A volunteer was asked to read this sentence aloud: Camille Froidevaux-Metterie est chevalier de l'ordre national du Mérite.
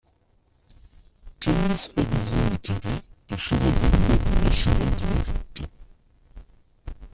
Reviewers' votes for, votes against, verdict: 0, 2, rejected